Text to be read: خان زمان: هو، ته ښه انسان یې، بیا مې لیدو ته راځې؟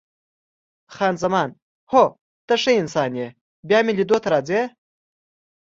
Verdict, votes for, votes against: accepted, 2, 0